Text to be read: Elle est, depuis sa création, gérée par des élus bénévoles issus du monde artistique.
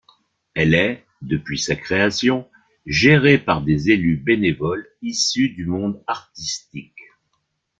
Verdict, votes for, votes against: accepted, 2, 0